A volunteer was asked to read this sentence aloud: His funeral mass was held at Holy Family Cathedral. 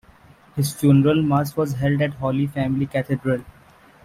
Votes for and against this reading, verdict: 2, 1, accepted